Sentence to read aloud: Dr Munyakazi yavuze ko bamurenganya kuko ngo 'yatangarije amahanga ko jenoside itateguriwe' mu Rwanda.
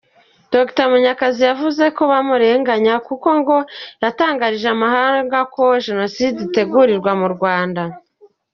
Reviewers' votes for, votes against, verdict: 1, 2, rejected